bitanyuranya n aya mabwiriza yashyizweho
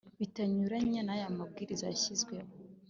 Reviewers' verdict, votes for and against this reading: accepted, 2, 0